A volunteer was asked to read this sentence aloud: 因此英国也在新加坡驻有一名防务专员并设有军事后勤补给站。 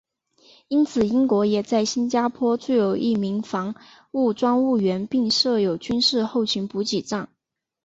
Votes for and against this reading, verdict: 2, 3, rejected